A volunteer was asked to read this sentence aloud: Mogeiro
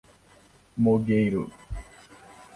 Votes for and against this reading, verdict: 2, 1, accepted